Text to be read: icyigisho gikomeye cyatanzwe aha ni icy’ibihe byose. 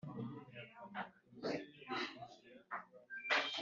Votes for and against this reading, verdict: 0, 2, rejected